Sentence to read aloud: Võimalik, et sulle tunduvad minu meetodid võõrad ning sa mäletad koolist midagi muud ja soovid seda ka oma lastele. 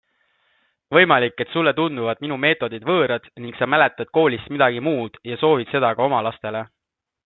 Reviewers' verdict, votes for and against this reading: accepted, 2, 0